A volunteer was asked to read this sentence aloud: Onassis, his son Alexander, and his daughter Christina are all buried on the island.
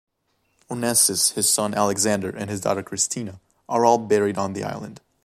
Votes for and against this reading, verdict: 1, 2, rejected